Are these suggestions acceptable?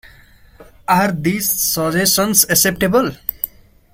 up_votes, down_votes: 1, 2